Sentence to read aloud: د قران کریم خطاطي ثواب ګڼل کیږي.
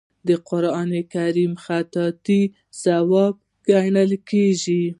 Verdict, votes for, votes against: rejected, 1, 2